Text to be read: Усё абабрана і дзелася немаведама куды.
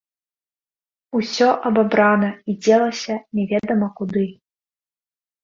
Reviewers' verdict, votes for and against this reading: rejected, 0, 2